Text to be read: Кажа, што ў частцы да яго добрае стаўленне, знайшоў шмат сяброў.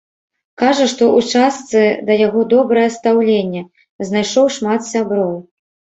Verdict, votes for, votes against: rejected, 1, 2